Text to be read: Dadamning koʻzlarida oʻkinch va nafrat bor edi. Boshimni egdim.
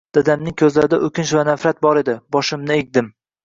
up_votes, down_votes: 2, 0